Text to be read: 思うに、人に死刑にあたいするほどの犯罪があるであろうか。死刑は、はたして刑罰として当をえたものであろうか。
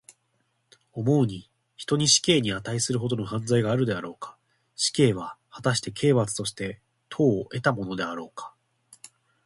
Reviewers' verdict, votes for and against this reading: accepted, 3, 0